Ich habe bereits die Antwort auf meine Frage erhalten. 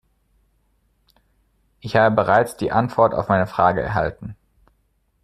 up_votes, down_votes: 2, 1